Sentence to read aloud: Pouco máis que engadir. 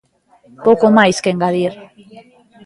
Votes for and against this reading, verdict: 2, 0, accepted